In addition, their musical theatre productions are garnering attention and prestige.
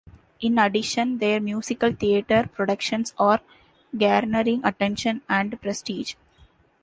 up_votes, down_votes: 2, 1